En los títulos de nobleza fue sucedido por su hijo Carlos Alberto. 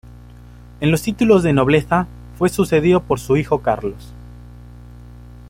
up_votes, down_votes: 0, 2